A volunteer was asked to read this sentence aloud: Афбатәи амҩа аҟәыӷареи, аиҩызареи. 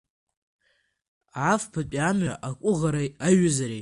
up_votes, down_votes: 0, 2